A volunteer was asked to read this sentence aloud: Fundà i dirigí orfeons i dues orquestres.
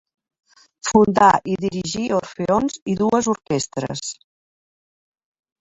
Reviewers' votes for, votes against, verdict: 3, 0, accepted